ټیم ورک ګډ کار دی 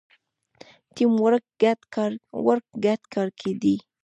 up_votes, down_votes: 1, 2